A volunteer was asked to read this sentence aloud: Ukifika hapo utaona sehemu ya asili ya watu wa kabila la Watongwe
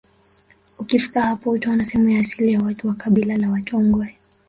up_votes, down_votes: 2, 0